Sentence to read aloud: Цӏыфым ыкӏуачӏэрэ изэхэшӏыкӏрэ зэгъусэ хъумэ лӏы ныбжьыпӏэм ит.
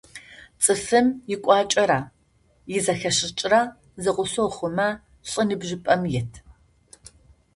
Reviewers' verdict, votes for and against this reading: accepted, 2, 0